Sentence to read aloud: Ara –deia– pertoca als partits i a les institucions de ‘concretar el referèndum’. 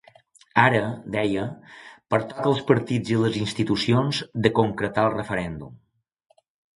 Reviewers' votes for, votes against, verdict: 0, 2, rejected